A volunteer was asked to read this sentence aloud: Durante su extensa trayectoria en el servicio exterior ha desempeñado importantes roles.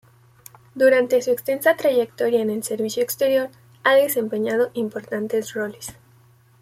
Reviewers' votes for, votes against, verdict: 2, 0, accepted